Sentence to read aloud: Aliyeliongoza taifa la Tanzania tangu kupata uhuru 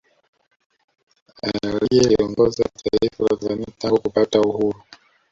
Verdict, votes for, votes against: rejected, 0, 2